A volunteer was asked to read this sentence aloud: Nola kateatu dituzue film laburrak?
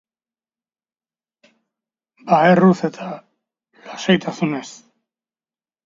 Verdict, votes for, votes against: rejected, 0, 2